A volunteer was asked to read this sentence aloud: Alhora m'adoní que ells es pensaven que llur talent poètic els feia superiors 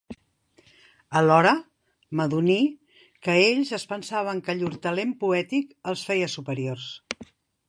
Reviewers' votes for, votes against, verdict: 3, 1, accepted